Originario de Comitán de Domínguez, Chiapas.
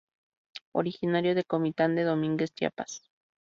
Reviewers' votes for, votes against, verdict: 2, 0, accepted